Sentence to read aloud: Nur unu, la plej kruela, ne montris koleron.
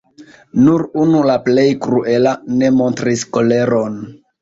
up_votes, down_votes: 2, 1